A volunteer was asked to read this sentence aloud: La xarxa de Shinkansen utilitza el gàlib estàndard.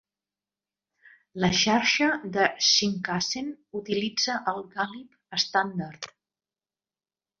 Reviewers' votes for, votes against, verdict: 2, 1, accepted